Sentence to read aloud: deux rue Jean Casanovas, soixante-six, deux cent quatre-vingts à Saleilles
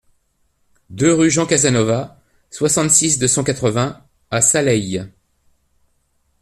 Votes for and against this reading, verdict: 1, 2, rejected